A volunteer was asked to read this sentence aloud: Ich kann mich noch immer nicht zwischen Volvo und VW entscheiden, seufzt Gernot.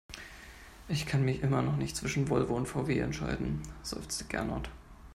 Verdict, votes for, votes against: rejected, 1, 2